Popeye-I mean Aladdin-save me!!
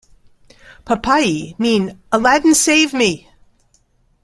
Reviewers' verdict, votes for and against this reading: rejected, 1, 2